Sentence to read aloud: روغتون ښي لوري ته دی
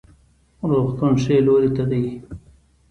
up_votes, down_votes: 1, 2